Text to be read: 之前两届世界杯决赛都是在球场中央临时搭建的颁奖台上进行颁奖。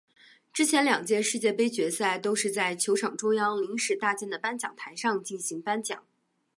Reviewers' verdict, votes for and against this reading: accepted, 3, 0